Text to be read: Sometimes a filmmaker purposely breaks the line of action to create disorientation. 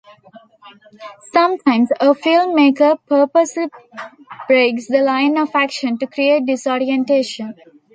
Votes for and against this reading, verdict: 2, 0, accepted